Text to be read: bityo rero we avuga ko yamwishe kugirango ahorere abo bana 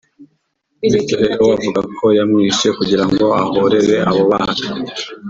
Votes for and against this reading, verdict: 0, 2, rejected